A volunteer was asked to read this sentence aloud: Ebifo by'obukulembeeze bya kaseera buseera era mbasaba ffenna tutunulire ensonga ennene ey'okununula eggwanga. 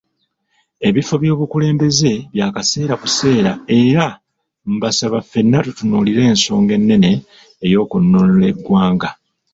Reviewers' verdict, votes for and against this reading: rejected, 1, 2